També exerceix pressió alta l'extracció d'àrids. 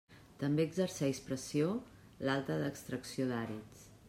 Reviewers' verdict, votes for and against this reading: rejected, 1, 2